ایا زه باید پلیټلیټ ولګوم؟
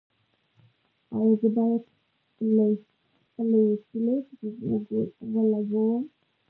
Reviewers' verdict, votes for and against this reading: rejected, 1, 2